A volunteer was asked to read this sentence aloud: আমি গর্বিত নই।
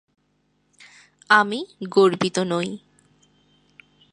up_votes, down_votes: 2, 0